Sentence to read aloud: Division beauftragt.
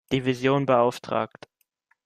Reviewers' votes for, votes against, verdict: 2, 0, accepted